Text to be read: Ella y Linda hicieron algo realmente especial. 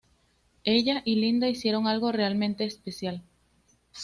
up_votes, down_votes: 2, 0